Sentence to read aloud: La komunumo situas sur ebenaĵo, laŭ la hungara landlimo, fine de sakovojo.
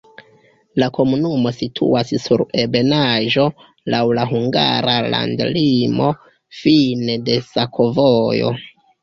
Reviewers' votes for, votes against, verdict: 1, 2, rejected